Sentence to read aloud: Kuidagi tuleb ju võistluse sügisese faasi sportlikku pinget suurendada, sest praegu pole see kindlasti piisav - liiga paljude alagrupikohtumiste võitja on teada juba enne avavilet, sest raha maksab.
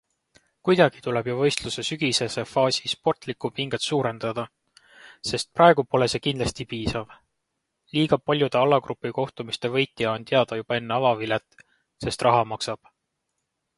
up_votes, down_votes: 2, 0